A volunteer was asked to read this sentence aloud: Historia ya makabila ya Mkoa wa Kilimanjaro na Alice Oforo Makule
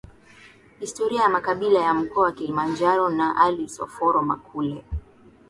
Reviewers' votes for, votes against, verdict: 6, 1, accepted